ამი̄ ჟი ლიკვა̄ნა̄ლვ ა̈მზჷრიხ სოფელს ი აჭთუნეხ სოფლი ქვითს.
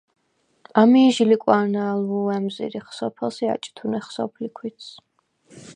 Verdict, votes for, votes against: accepted, 4, 0